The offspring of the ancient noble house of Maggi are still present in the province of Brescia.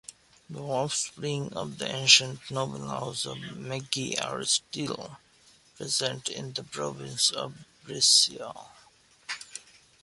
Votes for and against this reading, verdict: 0, 2, rejected